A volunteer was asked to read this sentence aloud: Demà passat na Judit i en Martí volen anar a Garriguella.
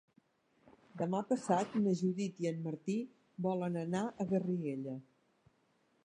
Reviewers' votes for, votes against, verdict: 2, 1, accepted